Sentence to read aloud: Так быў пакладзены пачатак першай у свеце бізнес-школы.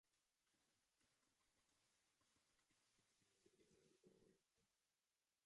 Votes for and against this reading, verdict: 0, 2, rejected